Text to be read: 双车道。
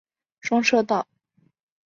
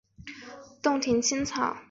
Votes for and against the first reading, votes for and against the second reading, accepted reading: 3, 0, 0, 2, first